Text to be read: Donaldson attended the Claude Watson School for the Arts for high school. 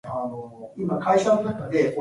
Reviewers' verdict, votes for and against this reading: rejected, 0, 2